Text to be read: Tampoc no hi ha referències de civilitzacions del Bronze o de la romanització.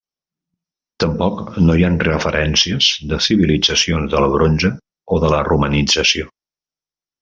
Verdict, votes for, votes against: accepted, 2, 0